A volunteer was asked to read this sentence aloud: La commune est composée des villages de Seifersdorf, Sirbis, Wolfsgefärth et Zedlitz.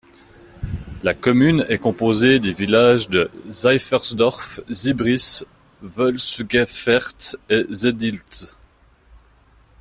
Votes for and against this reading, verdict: 0, 2, rejected